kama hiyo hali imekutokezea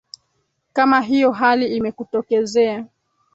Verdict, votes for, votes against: rejected, 0, 2